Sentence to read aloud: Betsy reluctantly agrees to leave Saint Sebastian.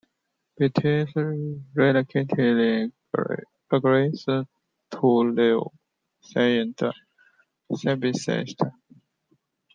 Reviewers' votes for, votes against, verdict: 0, 2, rejected